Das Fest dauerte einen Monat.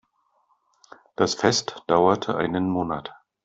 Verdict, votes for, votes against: accepted, 2, 0